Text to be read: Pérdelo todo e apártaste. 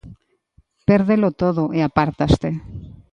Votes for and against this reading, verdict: 2, 0, accepted